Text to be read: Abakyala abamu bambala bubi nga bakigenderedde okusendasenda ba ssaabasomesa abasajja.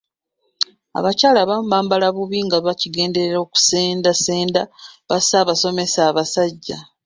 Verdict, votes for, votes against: rejected, 1, 2